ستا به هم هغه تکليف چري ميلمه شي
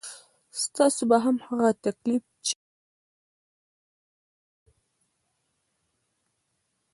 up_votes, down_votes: 1, 2